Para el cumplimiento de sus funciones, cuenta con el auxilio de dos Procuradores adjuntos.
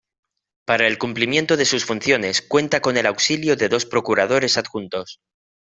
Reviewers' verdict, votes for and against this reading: accepted, 2, 0